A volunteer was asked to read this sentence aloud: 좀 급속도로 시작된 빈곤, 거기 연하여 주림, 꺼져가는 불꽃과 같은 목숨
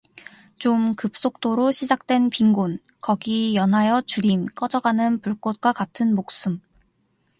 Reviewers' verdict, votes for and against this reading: accepted, 2, 0